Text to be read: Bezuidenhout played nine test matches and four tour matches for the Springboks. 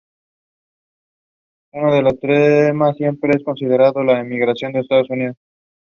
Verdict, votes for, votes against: rejected, 0, 2